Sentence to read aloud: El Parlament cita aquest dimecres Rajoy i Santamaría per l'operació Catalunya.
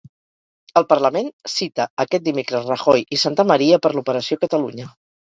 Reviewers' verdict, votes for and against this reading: rejected, 2, 2